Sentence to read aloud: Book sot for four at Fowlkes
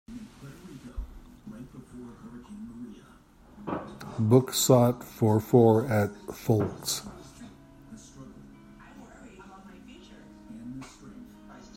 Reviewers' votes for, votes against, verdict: 2, 0, accepted